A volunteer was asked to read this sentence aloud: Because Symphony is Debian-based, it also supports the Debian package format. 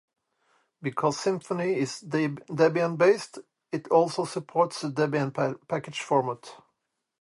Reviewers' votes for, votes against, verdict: 0, 2, rejected